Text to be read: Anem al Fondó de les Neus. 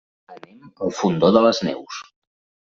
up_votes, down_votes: 1, 2